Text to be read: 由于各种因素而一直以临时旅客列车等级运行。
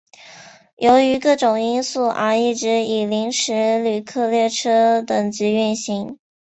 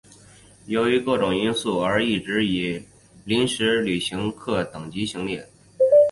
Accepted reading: first